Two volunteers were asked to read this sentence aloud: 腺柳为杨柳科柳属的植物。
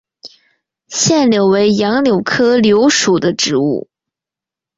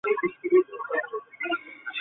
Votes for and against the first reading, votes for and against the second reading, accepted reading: 3, 0, 0, 2, first